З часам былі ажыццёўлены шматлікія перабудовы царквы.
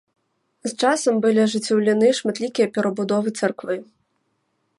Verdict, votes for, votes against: accepted, 3, 1